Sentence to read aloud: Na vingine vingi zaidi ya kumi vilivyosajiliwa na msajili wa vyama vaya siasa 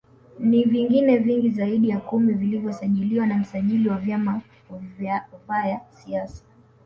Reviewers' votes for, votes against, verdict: 1, 2, rejected